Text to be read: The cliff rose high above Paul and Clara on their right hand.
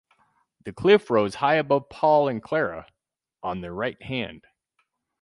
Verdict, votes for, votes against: rejected, 2, 2